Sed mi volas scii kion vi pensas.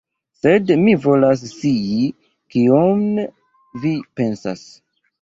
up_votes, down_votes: 0, 2